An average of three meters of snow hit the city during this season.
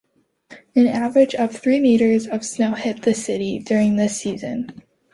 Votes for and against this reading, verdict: 2, 0, accepted